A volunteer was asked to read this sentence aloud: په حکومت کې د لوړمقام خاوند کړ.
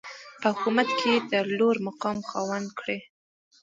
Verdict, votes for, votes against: rejected, 1, 2